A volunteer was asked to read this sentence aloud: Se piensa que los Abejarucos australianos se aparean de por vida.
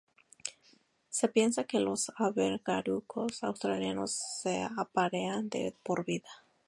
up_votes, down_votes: 0, 2